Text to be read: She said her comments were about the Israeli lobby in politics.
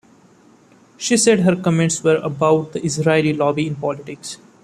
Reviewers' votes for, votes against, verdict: 2, 0, accepted